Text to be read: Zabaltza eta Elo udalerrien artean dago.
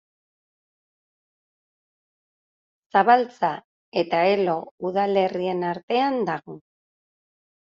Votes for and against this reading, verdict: 1, 2, rejected